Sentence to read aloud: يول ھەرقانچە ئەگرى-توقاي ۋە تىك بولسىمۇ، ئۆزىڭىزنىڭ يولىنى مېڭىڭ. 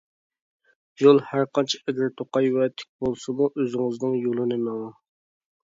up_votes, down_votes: 2, 0